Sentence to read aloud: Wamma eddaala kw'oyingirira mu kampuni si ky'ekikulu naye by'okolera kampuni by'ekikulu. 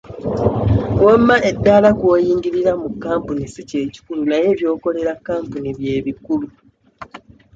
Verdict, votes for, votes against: accepted, 2, 1